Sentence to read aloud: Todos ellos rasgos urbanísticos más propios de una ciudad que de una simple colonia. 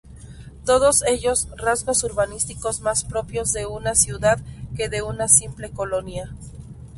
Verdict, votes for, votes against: accepted, 2, 0